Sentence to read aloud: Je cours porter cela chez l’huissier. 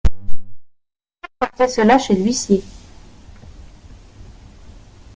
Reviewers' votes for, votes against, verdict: 0, 2, rejected